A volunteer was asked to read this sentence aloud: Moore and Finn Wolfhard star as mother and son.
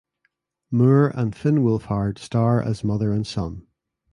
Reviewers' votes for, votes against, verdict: 2, 0, accepted